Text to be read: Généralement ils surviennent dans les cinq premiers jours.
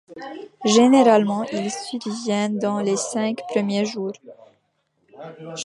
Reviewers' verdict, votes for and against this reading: rejected, 1, 2